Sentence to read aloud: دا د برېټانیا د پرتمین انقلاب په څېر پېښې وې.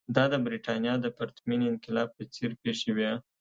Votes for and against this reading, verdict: 2, 0, accepted